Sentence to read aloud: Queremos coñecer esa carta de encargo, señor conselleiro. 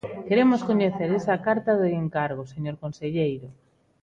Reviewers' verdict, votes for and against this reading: accepted, 2, 0